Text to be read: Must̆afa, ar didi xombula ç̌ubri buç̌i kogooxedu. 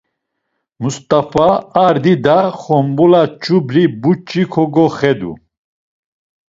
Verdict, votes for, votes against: rejected, 1, 2